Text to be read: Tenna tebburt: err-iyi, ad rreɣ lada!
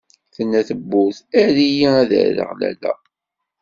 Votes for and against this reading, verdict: 1, 2, rejected